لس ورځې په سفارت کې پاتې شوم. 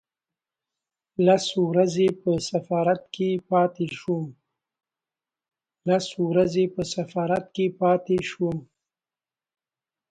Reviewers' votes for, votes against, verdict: 1, 2, rejected